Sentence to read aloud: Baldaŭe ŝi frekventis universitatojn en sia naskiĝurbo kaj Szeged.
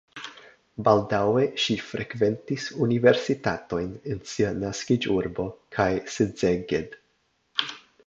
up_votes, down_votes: 0, 2